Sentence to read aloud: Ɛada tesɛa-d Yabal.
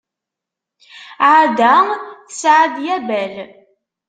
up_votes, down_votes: 2, 0